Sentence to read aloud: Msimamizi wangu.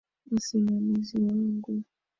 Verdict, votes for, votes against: rejected, 1, 2